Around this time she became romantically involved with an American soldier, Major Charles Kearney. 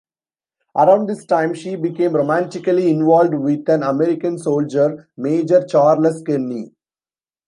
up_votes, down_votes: 1, 2